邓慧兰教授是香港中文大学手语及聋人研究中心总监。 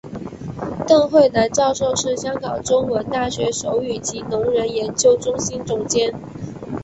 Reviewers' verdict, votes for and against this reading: accepted, 3, 0